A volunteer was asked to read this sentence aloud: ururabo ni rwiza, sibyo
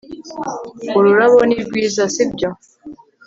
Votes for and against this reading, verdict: 3, 0, accepted